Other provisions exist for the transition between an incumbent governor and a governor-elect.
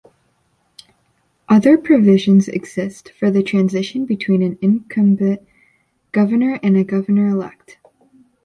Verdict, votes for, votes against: rejected, 1, 2